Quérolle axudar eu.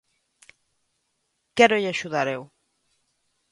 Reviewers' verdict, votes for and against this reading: accepted, 2, 0